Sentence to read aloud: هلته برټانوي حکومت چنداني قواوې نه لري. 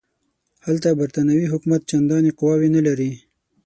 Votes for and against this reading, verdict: 6, 0, accepted